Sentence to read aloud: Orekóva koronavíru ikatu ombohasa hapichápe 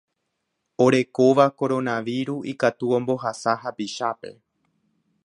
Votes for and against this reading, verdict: 0, 2, rejected